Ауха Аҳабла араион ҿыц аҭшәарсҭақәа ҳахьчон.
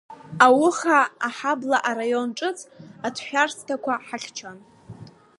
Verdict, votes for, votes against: accepted, 2, 0